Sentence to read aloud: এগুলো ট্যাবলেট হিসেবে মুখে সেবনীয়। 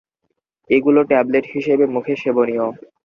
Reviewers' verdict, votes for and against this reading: accepted, 2, 0